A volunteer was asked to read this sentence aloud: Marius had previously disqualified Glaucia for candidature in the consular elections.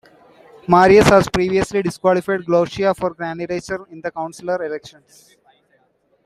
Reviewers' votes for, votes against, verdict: 2, 0, accepted